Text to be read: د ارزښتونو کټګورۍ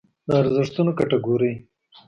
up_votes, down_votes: 2, 0